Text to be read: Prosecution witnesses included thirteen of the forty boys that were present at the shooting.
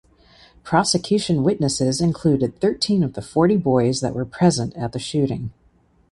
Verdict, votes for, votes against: accepted, 2, 0